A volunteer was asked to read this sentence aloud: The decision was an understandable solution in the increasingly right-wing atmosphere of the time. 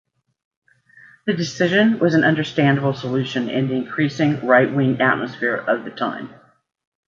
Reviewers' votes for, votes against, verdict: 0, 2, rejected